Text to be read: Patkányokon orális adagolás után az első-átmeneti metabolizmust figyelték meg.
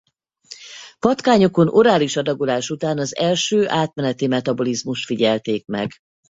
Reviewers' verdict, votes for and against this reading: rejected, 2, 2